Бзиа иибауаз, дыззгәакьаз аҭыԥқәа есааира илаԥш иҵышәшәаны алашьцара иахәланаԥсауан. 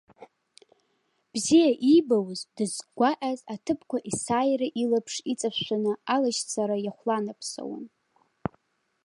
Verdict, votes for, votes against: accepted, 2, 0